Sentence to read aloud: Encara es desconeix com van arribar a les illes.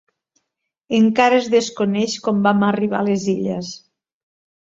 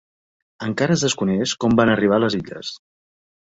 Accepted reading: second